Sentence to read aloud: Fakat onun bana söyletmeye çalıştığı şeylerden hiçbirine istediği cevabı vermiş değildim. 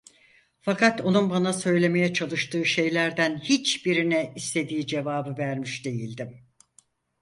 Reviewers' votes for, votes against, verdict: 0, 4, rejected